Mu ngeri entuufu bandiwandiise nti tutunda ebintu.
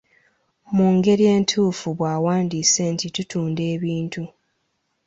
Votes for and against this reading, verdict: 1, 2, rejected